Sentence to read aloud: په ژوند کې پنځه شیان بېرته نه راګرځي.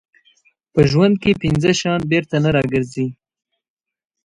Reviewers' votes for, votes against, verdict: 2, 0, accepted